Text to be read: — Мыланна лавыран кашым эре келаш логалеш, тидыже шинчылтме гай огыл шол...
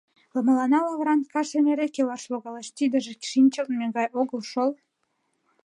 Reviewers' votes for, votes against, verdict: 2, 0, accepted